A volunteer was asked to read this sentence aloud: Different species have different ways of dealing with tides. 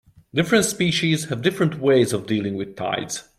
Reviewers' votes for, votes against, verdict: 2, 0, accepted